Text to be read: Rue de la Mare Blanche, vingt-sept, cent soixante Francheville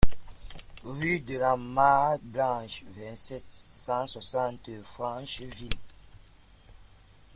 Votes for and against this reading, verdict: 0, 2, rejected